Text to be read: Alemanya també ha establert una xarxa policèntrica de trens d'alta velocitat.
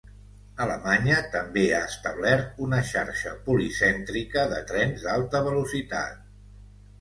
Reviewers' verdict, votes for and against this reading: accepted, 4, 0